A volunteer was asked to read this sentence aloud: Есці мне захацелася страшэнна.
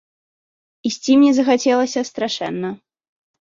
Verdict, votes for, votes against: rejected, 1, 3